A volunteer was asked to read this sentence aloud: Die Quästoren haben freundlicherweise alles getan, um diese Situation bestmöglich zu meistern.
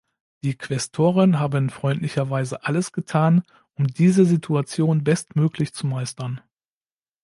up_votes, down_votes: 2, 0